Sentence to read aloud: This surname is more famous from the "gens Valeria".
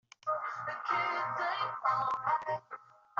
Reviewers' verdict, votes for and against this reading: rejected, 0, 2